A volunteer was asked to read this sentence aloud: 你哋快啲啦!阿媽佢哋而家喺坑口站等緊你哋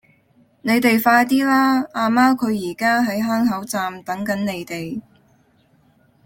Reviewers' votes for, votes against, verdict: 0, 2, rejected